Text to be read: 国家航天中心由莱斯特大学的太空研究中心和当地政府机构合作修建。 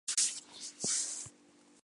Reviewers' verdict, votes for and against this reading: rejected, 1, 2